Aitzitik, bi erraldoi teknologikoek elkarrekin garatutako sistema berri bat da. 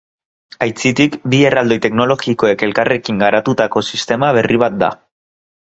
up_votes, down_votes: 2, 1